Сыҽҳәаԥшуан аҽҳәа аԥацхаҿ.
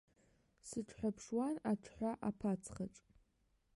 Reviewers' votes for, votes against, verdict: 2, 0, accepted